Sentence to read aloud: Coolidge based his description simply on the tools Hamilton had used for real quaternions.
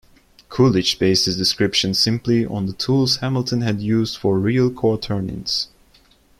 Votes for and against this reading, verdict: 0, 2, rejected